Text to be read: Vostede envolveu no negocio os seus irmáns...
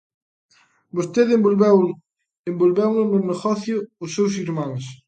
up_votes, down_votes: 0, 2